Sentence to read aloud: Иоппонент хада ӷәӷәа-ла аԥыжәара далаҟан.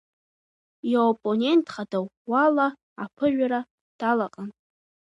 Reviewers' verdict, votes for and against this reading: rejected, 1, 2